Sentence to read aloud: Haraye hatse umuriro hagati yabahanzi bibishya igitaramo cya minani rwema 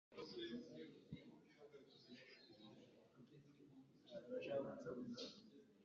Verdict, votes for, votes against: rejected, 1, 2